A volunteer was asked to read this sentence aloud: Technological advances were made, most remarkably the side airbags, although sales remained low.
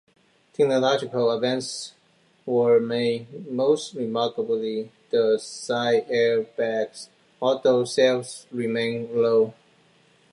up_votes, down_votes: 2, 1